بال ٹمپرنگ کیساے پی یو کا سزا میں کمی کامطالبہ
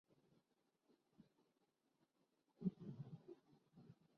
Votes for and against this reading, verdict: 1, 2, rejected